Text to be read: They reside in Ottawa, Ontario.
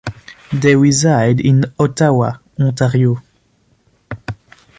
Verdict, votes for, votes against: accepted, 2, 0